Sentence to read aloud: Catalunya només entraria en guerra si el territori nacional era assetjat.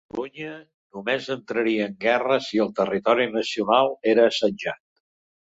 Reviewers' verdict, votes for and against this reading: rejected, 0, 2